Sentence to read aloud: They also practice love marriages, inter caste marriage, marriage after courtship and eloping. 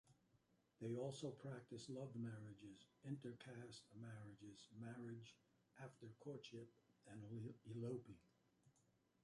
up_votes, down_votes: 0, 2